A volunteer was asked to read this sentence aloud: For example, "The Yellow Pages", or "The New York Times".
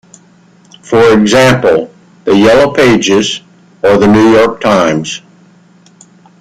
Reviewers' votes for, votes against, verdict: 2, 1, accepted